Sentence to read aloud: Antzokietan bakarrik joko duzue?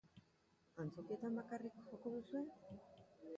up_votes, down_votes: 2, 1